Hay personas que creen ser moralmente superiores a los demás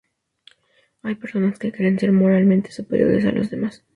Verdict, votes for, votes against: accepted, 2, 0